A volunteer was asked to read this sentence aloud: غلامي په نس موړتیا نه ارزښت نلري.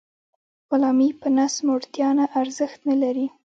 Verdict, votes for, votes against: accepted, 2, 1